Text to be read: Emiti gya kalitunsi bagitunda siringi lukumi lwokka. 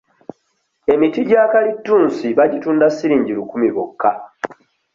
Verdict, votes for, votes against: accepted, 2, 0